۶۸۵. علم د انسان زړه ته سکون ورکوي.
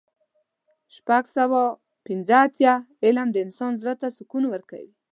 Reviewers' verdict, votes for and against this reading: rejected, 0, 2